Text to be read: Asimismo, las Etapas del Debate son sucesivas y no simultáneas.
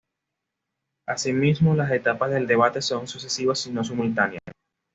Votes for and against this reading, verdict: 2, 0, accepted